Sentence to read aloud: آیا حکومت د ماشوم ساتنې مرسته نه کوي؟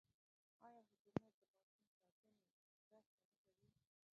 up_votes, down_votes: 0, 2